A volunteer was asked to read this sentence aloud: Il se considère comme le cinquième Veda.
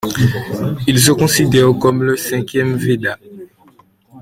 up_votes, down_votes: 2, 0